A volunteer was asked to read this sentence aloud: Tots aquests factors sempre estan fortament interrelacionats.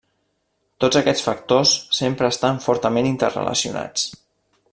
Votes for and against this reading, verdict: 3, 0, accepted